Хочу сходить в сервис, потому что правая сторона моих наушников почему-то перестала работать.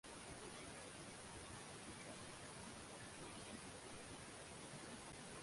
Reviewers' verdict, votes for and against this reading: rejected, 0, 2